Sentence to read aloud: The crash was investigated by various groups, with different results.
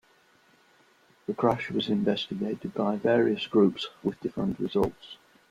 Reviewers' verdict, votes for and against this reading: accepted, 2, 0